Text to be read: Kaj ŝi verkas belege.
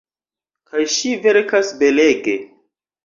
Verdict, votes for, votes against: accepted, 2, 0